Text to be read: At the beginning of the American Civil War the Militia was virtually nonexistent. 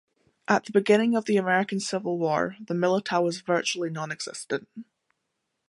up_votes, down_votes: 1, 2